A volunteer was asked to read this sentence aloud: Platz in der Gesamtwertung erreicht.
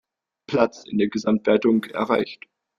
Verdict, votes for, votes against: accepted, 2, 0